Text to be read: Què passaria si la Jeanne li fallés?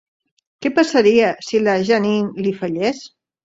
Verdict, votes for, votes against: rejected, 0, 2